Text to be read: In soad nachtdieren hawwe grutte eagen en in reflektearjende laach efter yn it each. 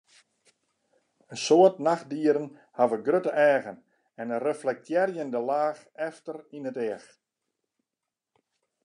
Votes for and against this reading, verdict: 2, 0, accepted